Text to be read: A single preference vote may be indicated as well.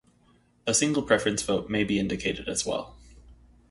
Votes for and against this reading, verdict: 2, 0, accepted